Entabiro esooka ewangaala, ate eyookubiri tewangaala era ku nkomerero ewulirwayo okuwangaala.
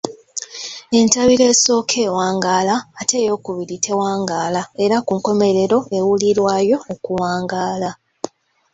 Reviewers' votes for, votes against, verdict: 2, 0, accepted